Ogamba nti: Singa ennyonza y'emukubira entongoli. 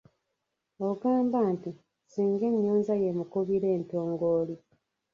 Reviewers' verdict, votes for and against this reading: rejected, 0, 2